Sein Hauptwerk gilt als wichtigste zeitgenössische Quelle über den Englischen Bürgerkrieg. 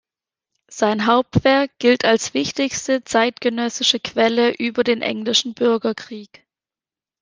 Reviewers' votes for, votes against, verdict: 2, 0, accepted